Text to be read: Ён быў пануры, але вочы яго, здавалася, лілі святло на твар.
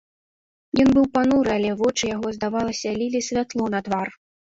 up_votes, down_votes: 2, 0